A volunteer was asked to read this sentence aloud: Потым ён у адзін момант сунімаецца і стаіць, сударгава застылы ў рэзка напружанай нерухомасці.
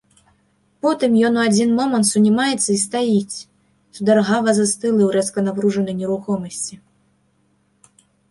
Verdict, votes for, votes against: accepted, 2, 0